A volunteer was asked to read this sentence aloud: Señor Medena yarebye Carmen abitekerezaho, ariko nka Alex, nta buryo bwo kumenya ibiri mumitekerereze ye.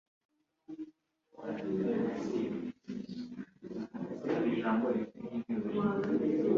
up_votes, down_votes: 0, 3